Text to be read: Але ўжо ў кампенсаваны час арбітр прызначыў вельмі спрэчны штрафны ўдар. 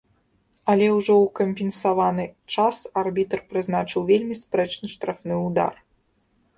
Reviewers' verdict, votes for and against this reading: accepted, 2, 0